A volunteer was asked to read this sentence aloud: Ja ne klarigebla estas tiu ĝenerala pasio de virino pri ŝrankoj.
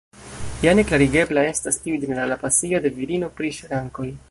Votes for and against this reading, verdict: 1, 2, rejected